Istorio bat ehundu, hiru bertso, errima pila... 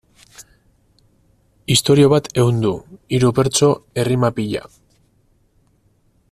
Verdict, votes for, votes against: accepted, 4, 0